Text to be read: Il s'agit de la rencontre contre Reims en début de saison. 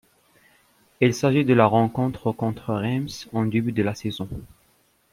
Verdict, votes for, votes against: rejected, 1, 2